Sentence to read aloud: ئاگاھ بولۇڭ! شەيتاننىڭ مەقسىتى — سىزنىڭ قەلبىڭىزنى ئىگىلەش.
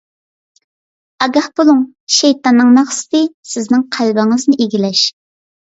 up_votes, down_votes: 2, 0